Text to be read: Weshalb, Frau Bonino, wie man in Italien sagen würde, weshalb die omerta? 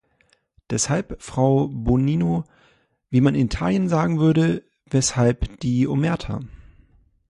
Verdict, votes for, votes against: rejected, 0, 2